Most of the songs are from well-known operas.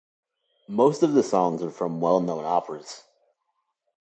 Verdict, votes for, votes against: accepted, 2, 0